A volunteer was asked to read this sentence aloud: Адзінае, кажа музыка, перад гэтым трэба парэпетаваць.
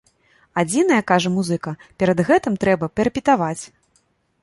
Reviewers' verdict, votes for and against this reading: rejected, 0, 2